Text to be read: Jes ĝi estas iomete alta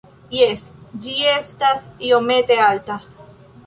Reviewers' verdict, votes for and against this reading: accepted, 3, 1